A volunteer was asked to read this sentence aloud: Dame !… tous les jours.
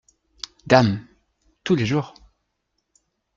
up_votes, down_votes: 2, 0